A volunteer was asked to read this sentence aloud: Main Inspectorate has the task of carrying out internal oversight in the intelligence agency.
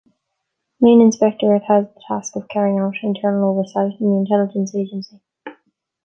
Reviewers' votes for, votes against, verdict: 1, 2, rejected